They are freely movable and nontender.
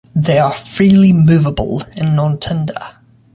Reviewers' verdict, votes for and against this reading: accepted, 2, 0